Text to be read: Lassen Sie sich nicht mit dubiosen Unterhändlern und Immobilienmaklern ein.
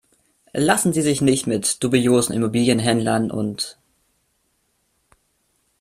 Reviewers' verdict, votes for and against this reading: rejected, 0, 2